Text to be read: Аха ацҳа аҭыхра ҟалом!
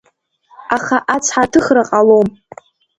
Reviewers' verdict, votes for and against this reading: accepted, 2, 0